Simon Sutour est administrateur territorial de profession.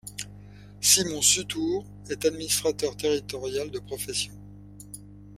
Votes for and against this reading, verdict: 2, 0, accepted